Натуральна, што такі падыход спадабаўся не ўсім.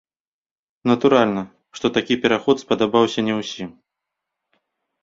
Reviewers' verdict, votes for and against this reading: rejected, 0, 2